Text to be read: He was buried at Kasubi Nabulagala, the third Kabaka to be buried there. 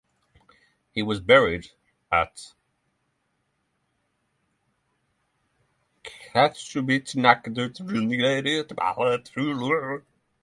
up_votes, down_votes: 0, 6